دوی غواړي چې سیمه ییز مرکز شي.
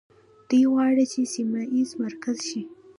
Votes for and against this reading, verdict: 0, 2, rejected